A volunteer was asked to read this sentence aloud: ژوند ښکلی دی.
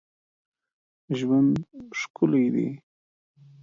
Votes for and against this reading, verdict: 2, 0, accepted